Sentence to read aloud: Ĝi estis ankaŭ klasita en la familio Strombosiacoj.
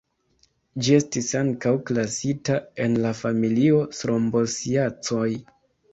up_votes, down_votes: 0, 2